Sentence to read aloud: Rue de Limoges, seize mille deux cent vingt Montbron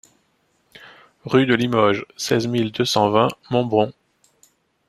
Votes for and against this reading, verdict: 2, 0, accepted